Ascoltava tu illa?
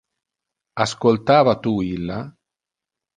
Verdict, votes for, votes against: accepted, 2, 0